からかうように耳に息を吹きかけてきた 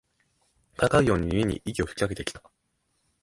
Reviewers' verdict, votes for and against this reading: rejected, 1, 2